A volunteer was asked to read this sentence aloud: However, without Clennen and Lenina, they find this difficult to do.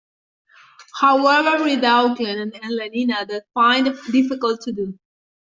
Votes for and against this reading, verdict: 1, 2, rejected